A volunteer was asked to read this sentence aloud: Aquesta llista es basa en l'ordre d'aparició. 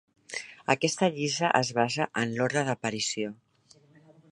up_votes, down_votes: 1, 2